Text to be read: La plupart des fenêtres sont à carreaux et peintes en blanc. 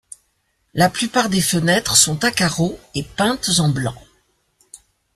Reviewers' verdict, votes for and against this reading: accepted, 2, 0